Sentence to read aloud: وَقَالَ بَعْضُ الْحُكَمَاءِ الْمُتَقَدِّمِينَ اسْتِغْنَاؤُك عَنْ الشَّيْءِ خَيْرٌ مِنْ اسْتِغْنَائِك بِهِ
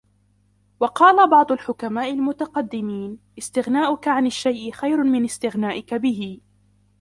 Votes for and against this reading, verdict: 0, 2, rejected